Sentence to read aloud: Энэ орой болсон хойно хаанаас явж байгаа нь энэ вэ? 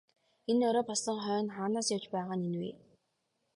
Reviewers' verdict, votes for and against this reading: accepted, 5, 0